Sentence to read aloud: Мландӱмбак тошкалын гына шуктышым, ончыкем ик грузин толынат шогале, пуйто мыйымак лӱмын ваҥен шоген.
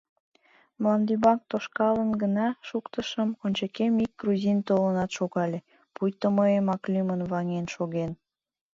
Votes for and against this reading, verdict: 2, 0, accepted